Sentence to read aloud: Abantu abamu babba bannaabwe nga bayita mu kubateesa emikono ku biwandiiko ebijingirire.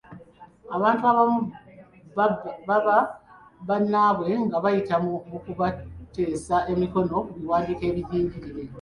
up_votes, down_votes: 2, 1